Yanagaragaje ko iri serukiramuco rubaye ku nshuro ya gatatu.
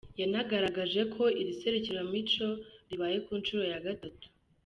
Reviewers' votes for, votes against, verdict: 1, 2, rejected